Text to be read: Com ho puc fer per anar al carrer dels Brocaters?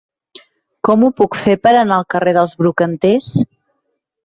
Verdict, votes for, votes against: rejected, 0, 2